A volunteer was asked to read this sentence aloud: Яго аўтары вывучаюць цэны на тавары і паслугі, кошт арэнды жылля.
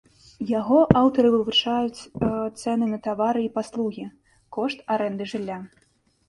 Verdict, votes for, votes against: rejected, 0, 2